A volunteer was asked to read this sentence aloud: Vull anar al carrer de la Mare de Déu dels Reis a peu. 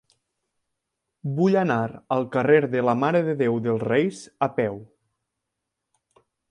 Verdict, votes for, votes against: accepted, 3, 0